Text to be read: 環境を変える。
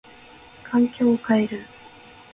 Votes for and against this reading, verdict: 1, 2, rejected